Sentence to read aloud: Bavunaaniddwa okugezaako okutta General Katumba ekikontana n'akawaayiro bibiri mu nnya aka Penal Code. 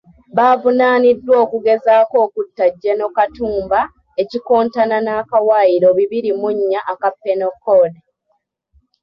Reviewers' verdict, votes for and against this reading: rejected, 1, 2